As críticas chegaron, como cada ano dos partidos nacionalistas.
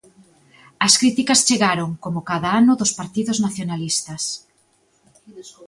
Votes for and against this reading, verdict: 2, 0, accepted